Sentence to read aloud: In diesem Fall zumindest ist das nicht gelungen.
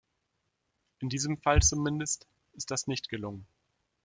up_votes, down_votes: 2, 0